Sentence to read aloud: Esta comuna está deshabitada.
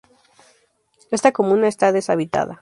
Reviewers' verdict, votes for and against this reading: accepted, 4, 0